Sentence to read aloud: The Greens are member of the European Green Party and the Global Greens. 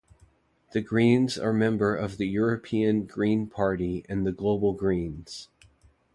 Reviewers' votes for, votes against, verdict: 2, 0, accepted